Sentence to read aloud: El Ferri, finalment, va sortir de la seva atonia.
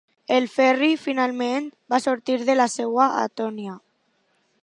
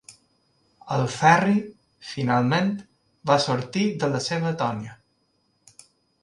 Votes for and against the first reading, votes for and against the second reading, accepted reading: 0, 2, 2, 0, second